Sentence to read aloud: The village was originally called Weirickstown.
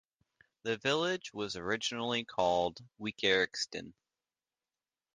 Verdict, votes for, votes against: rejected, 1, 2